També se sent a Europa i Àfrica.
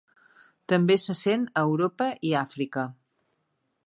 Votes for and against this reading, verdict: 2, 0, accepted